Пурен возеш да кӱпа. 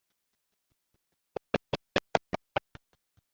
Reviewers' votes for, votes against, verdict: 0, 2, rejected